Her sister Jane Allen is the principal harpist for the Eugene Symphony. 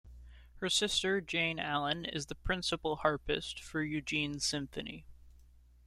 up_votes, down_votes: 1, 2